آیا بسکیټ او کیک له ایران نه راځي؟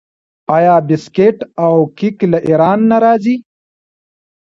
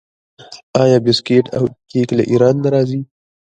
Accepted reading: first